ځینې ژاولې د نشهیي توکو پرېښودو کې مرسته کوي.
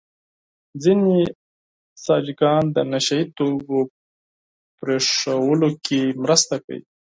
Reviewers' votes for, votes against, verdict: 2, 4, rejected